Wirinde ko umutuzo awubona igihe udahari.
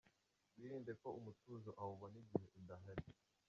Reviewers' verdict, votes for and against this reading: rejected, 0, 2